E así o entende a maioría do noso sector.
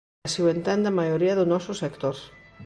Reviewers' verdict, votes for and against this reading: rejected, 1, 2